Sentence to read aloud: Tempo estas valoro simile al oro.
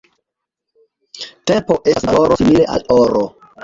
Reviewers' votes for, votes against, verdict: 1, 2, rejected